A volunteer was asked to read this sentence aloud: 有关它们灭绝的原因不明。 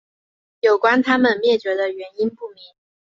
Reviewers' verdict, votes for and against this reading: accepted, 2, 0